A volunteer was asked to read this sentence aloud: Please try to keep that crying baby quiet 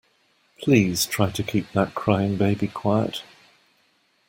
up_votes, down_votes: 2, 0